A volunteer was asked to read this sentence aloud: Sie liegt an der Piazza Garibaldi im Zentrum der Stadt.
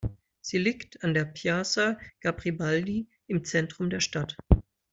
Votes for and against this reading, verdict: 0, 2, rejected